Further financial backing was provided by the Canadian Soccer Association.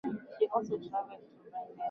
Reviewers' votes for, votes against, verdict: 0, 4, rejected